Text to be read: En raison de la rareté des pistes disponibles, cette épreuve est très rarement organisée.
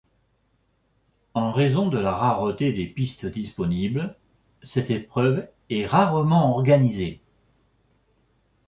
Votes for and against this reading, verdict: 1, 2, rejected